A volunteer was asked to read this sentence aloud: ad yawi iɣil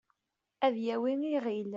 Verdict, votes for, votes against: accepted, 2, 1